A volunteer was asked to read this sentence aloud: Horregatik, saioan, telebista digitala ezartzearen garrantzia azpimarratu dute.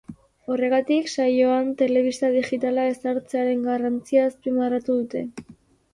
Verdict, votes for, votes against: accepted, 2, 0